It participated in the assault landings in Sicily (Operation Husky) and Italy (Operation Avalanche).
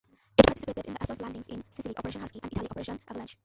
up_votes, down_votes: 0, 2